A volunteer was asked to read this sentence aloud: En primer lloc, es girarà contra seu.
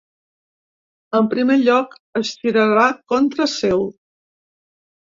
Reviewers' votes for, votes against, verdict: 0, 3, rejected